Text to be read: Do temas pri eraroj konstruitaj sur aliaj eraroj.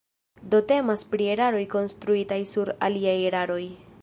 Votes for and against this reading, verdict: 2, 0, accepted